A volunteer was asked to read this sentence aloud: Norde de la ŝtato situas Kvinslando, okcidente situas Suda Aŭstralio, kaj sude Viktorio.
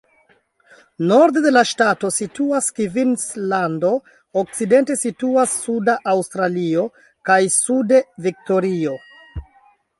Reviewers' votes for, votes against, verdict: 2, 0, accepted